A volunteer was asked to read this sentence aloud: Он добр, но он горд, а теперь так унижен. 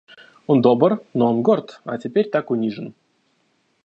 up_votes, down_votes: 2, 0